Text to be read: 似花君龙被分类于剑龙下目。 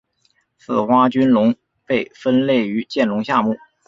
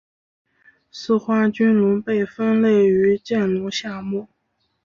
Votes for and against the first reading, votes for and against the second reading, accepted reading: 2, 0, 1, 2, first